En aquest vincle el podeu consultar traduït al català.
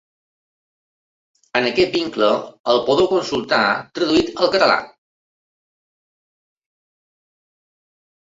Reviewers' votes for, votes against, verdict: 2, 1, accepted